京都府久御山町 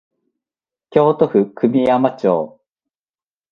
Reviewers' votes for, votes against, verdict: 2, 0, accepted